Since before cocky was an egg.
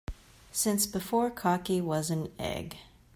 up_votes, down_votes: 2, 0